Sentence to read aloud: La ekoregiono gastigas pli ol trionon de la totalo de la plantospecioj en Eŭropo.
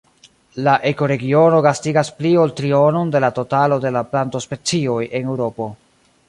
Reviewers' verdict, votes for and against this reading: accepted, 2, 1